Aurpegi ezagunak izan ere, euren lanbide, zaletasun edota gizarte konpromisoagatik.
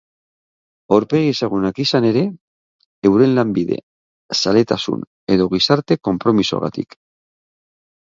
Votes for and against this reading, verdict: 0, 9, rejected